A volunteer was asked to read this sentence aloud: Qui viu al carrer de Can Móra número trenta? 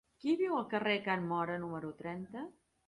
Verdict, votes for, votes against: rejected, 0, 2